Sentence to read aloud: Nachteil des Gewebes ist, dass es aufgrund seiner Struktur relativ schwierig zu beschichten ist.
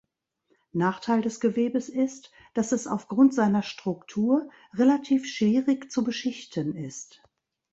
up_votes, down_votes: 1, 2